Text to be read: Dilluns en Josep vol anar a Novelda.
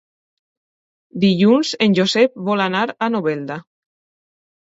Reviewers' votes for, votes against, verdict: 2, 0, accepted